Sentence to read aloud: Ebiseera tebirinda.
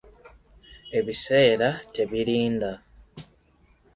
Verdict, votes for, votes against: accepted, 3, 0